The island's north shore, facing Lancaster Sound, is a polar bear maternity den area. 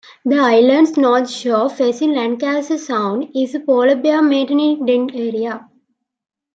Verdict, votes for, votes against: rejected, 0, 2